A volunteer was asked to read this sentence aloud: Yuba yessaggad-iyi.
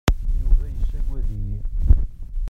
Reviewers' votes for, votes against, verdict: 1, 2, rejected